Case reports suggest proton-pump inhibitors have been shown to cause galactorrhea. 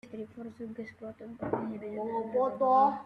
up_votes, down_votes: 0, 2